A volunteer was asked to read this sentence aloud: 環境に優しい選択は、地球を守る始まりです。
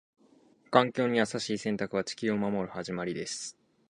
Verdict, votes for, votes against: accepted, 4, 0